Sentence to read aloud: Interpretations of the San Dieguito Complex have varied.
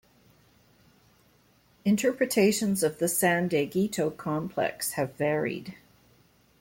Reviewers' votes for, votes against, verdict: 2, 0, accepted